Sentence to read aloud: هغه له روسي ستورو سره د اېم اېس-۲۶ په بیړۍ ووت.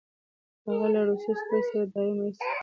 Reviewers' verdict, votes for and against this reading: rejected, 0, 2